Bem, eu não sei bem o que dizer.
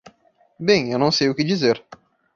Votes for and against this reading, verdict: 0, 2, rejected